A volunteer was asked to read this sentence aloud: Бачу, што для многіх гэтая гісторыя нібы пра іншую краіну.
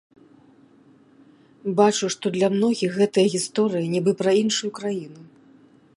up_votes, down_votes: 2, 0